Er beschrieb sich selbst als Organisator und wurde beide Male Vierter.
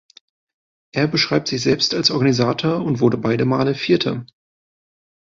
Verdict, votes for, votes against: accepted, 3, 1